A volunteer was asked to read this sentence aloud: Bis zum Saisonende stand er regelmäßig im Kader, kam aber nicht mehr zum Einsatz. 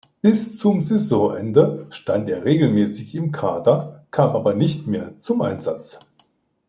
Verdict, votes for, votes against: accepted, 2, 0